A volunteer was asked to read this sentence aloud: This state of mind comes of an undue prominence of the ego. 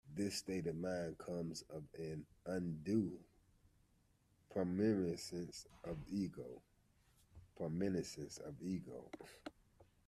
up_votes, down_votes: 0, 2